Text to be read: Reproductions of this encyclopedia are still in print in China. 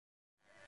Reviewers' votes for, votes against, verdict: 1, 2, rejected